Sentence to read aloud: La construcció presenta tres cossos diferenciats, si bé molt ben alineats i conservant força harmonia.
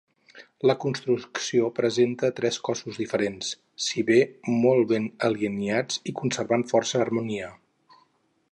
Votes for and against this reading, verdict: 0, 4, rejected